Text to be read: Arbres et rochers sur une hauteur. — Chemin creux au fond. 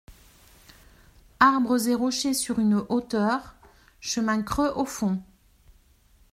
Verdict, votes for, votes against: accepted, 2, 0